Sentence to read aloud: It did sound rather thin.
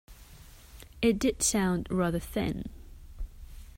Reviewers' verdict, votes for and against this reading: accepted, 2, 1